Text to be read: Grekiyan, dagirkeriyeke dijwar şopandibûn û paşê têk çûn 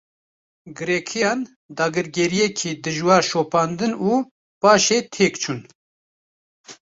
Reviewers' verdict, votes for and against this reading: rejected, 1, 2